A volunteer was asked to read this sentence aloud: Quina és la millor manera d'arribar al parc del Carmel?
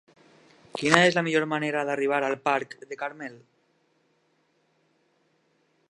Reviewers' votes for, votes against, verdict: 0, 2, rejected